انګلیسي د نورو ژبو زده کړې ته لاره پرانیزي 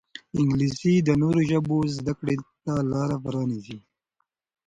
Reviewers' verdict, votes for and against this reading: accepted, 2, 1